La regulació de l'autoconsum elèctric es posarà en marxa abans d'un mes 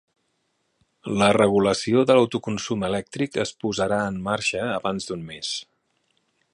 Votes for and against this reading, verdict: 3, 0, accepted